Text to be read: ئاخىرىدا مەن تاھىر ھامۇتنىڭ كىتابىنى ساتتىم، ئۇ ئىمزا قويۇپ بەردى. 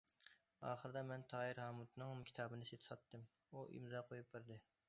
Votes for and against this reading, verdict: 0, 2, rejected